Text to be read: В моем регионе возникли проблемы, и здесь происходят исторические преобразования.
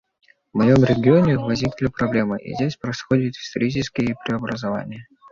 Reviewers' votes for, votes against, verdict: 2, 0, accepted